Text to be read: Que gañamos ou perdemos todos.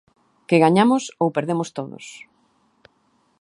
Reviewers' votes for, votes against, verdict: 2, 0, accepted